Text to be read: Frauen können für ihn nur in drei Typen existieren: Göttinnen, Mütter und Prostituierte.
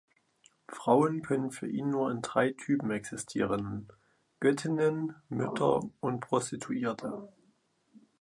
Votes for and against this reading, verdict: 2, 0, accepted